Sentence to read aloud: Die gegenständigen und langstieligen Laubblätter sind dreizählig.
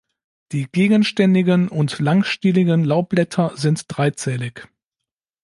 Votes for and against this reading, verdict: 2, 0, accepted